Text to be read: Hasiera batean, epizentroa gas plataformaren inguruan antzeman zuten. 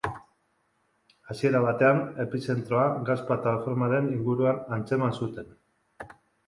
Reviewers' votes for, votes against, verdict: 3, 0, accepted